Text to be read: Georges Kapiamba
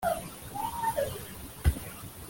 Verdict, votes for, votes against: rejected, 0, 2